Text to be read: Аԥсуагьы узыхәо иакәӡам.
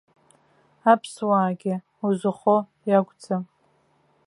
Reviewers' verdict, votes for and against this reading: rejected, 0, 2